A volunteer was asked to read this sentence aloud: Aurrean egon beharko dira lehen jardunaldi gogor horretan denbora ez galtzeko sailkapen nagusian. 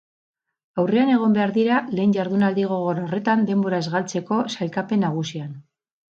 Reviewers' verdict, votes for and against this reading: rejected, 0, 4